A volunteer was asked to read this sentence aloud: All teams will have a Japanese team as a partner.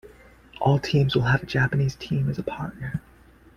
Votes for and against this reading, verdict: 2, 0, accepted